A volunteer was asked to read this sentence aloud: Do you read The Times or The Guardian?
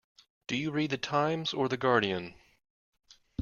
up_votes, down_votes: 2, 0